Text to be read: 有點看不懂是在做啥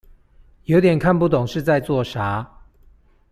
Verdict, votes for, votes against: accepted, 2, 0